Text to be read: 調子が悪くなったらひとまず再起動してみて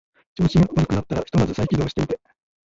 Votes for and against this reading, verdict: 0, 2, rejected